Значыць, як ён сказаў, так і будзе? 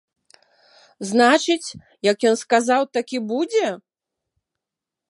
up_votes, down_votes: 2, 0